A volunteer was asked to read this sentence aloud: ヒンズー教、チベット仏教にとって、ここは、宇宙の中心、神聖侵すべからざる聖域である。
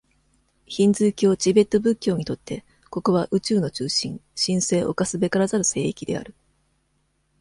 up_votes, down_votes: 2, 0